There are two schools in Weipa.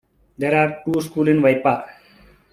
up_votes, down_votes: 2, 1